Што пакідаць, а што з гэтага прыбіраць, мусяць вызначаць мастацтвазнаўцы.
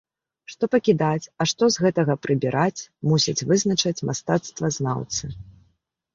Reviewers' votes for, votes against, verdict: 1, 2, rejected